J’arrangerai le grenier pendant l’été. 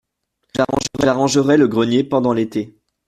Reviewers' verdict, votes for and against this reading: rejected, 0, 2